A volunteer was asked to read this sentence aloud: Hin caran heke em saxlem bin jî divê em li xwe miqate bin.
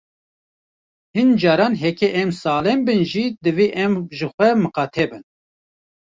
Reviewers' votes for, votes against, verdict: 0, 2, rejected